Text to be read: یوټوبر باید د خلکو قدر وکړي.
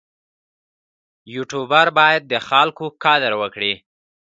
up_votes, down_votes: 1, 2